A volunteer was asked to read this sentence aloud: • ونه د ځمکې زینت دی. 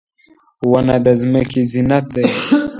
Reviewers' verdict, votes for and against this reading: accepted, 2, 1